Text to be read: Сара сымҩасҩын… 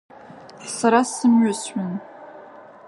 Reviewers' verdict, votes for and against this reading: rejected, 0, 2